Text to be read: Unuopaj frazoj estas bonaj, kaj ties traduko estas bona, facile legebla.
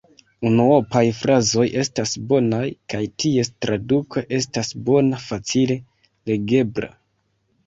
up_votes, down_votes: 2, 0